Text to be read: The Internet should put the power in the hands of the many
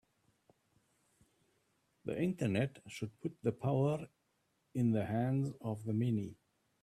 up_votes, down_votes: 3, 0